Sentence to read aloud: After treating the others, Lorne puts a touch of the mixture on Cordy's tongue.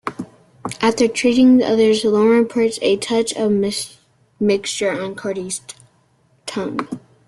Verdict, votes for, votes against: rejected, 0, 2